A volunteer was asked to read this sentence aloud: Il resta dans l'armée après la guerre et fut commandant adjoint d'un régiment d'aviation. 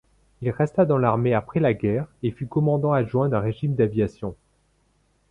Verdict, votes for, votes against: rejected, 1, 2